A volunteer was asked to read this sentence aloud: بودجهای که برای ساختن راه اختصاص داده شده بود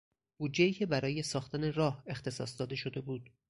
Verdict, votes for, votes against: accepted, 4, 0